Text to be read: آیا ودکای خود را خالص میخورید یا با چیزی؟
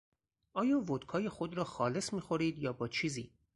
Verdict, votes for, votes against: accepted, 4, 0